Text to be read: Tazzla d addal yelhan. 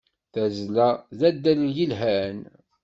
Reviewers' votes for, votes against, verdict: 2, 0, accepted